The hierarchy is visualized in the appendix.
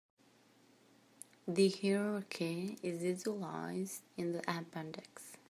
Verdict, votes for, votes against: rejected, 1, 3